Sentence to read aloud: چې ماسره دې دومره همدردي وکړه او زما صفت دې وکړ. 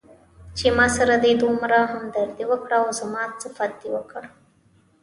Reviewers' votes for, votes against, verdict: 1, 2, rejected